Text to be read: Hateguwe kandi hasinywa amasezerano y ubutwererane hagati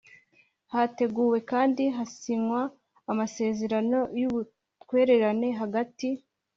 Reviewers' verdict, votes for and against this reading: accepted, 2, 0